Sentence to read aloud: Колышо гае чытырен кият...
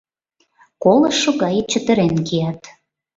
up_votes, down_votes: 2, 0